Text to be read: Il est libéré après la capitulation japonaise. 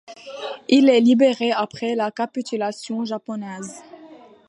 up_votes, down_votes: 2, 0